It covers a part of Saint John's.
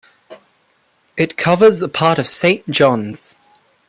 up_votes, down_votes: 2, 0